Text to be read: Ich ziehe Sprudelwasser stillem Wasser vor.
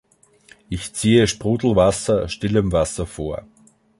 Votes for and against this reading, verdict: 2, 0, accepted